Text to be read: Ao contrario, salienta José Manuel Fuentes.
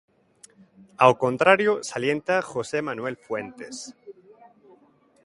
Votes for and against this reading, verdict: 2, 0, accepted